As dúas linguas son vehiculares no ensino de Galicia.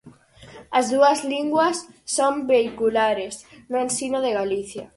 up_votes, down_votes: 4, 0